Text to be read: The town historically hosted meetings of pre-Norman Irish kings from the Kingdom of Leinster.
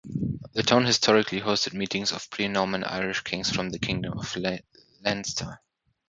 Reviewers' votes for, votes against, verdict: 3, 3, rejected